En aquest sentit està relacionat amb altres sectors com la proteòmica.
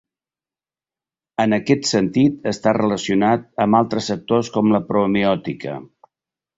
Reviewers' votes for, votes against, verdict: 1, 3, rejected